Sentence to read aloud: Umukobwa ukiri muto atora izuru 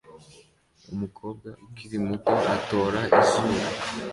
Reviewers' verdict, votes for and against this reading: accepted, 2, 0